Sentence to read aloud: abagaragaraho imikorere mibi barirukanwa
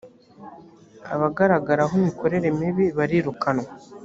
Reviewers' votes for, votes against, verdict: 3, 0, accepted